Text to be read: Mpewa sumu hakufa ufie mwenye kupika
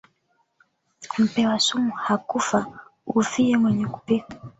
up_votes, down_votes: 1, 2